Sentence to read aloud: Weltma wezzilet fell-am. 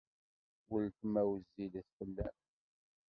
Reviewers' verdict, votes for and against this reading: rejected, 1, 2